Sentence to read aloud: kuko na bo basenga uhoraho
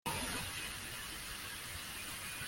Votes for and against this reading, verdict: 0, 2, rejected